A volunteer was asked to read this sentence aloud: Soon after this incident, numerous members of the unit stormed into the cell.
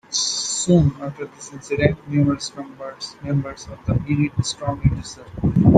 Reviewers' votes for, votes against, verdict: 0, 2, rejected